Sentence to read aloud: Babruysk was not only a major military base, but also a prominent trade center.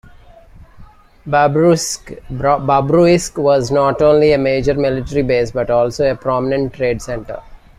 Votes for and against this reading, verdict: 0, 2, rejected